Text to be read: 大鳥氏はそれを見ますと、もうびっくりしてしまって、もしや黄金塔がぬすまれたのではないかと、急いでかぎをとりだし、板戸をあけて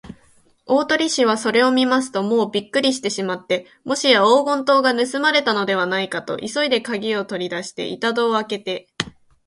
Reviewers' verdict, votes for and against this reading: accepted, 5, 2